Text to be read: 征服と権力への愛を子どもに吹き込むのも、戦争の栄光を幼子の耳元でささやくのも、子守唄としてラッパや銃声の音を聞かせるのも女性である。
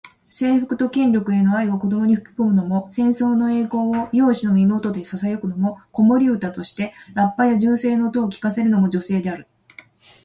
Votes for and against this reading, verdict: 2, 0, accepted